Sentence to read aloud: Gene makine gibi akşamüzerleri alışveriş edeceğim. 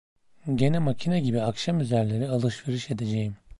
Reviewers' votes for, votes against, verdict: 2, 0, accepted